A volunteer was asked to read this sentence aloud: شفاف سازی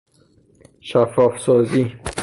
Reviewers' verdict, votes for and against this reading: rejected, 0, 3